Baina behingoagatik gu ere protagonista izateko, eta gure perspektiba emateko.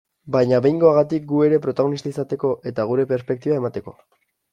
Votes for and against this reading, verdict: 2, 0, accepted